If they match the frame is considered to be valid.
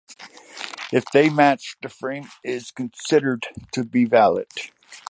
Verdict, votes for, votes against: rejected, 0, 2